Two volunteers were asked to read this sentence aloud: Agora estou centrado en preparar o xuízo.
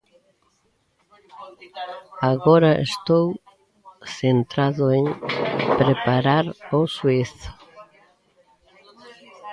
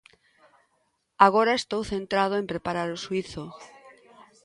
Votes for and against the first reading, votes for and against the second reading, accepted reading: 0, 2, 2, 0, second